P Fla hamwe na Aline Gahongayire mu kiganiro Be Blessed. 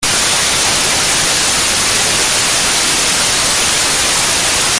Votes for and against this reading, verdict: 0, 2, rejected